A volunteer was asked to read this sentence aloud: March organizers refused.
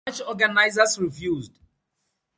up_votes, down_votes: 2, 2